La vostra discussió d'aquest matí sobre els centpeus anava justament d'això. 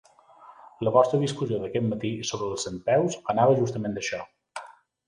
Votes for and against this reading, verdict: 2, 0, accepted